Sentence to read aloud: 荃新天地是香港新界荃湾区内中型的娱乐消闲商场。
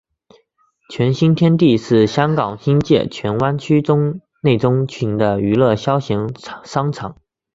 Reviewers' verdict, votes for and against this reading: accepted, 2, 0